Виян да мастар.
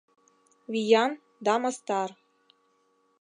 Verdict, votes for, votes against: accepted, 2, 0